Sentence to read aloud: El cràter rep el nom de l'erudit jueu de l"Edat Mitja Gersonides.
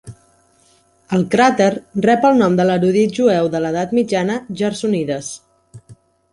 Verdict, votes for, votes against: rejected, 1, 2